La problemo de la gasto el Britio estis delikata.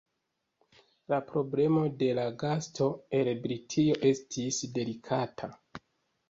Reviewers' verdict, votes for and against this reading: rejected, 1, 2